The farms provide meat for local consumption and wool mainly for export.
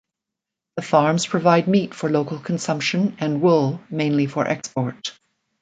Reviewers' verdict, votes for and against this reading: accepted, 2, 0